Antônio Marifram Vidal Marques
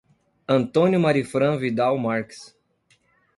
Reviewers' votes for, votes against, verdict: 2, 0, accepted